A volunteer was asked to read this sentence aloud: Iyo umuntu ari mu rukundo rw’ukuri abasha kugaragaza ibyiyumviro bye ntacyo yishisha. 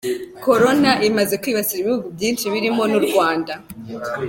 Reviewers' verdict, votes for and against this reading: rejected, 0, 2